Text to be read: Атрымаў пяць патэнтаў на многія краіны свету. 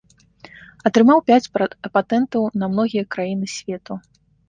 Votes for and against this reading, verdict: 0, 2, rejected